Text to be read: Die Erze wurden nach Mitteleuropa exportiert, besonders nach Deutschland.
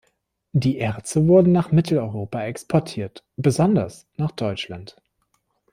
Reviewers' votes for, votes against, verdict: 3, 0, accepted